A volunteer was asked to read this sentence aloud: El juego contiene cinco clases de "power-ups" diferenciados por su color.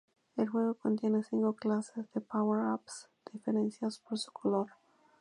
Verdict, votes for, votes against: rejected, 0, 2